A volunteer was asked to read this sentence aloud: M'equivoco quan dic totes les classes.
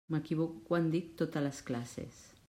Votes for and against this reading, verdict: 1, 2, rejected